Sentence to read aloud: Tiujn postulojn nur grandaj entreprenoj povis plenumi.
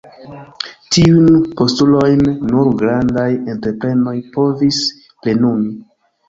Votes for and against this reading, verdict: 2, 1, accepted